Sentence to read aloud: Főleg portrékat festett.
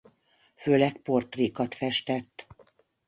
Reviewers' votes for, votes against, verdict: 2, 0, accepted